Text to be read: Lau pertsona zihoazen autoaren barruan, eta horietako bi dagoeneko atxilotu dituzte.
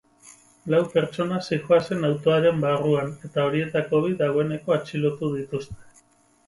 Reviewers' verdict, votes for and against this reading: accepted, 4, 2